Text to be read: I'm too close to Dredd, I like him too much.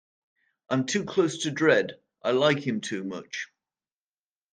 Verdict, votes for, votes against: accepted, 2, 0